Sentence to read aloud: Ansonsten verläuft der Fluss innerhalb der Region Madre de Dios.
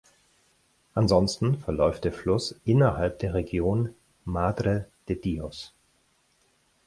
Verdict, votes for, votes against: accepted, 6, 0